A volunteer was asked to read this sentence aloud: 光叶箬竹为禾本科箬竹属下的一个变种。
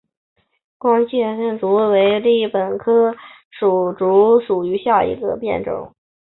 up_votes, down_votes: 0, 4